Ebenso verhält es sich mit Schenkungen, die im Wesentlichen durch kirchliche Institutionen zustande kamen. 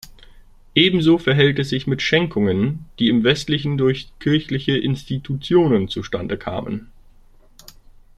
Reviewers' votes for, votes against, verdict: 0, 2, rejected